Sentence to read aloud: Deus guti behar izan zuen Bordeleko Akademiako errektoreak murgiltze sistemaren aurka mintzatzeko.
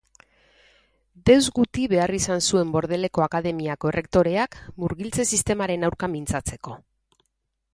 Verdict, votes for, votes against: accepted, 2, 0